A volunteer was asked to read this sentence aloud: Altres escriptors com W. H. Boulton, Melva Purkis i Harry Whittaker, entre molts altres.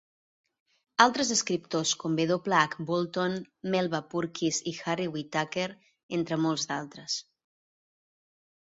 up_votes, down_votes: 1, 2